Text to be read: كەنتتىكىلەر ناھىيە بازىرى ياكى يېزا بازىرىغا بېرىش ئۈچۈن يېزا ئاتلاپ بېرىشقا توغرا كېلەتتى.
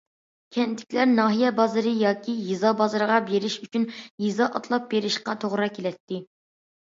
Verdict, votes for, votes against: accepted, 2, 0